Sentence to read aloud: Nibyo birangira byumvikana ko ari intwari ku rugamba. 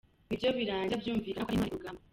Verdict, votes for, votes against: rejected, 0, 2